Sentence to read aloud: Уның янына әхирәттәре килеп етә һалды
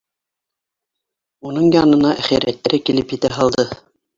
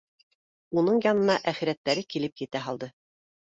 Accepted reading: second